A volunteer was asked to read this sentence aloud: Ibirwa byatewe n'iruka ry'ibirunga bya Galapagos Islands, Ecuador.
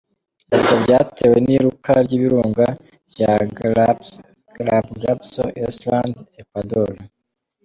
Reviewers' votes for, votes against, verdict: 0, 2, rejected